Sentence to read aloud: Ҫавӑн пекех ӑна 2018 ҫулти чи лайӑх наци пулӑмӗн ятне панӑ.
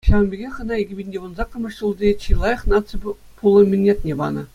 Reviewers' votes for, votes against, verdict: 0, 2, rejected